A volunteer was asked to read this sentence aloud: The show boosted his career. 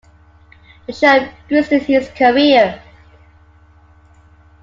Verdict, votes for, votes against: accepted, 2, 1